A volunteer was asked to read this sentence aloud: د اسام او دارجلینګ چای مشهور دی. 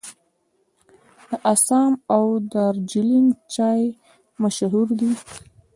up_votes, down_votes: 2, 0